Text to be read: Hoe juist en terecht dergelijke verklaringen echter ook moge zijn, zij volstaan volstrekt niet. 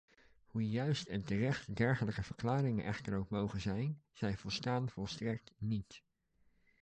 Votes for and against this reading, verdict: 2, 0, accepted